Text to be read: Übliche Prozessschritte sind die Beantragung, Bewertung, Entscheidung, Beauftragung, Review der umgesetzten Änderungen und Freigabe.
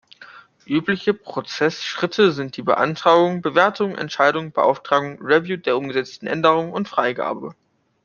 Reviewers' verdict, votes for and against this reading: accepted, 2, 0